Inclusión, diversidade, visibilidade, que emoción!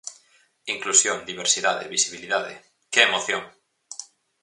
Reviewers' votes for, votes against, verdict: 4, 0, accepted